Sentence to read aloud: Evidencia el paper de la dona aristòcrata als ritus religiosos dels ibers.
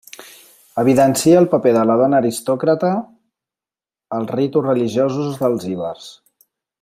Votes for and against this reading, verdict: 1, 2, rejected